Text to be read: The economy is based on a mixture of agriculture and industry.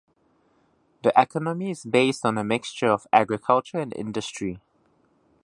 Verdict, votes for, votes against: rejected, 1, 2